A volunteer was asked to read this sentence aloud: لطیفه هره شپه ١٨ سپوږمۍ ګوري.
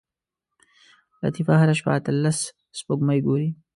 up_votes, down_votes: 0, 2